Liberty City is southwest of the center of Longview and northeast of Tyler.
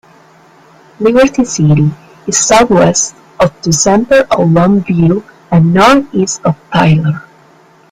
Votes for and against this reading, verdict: 1, 2, rejected